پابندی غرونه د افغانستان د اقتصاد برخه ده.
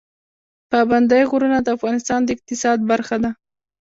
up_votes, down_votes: 0, 2